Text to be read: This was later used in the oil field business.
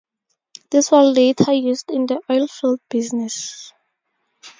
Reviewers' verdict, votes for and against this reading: rejected, 2, 2